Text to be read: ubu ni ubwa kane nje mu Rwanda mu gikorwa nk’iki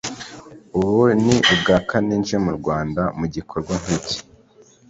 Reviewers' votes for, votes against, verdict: 3, 0, accepted